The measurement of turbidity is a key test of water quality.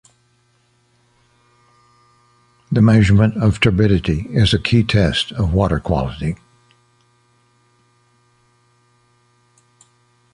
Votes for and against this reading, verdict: 2, 0, accepted